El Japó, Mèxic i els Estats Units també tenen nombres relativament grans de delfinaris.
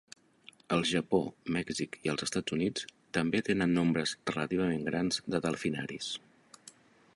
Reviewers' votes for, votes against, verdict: 3, 0, accepted